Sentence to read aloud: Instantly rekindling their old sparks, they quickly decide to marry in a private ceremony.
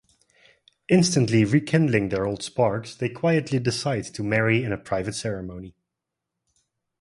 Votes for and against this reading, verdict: 0, 2, rejected